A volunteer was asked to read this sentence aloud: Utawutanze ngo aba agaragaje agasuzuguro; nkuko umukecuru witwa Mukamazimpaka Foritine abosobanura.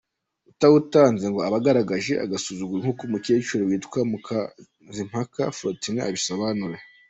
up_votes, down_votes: 0, 2